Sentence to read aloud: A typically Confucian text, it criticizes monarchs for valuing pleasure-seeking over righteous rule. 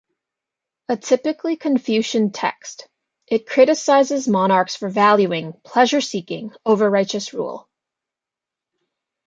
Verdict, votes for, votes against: rejected, 1, 2